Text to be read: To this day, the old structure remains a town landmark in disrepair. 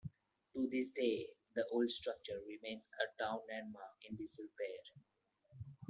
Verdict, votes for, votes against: accepted, 2, 0